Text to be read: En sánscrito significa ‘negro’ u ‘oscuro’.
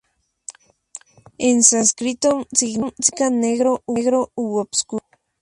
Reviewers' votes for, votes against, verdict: 2, 2, rejected